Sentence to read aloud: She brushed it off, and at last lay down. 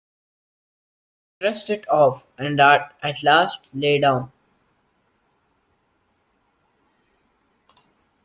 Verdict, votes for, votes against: rejected, 1, 2